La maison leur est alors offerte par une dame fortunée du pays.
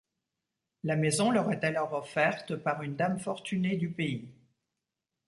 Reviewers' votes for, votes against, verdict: 3, 0, accepted